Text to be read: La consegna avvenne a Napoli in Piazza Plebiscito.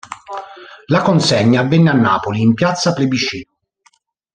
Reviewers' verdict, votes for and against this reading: rejected, 1, 2